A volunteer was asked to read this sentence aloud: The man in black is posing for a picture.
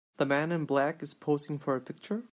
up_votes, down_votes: 2, 0